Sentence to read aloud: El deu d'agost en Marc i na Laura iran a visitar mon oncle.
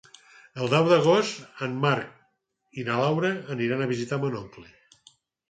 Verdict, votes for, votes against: rejected, 2, 4